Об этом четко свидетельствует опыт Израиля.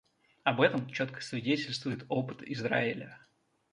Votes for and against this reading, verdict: 2, 0, accepted